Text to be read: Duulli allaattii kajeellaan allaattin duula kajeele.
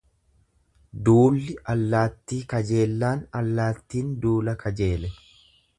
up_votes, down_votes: 2, 0